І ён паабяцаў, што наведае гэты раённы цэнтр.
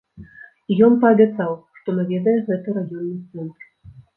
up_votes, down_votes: 1, 2